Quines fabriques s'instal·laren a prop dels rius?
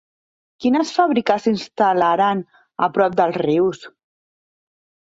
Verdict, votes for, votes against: rejected, 0, 2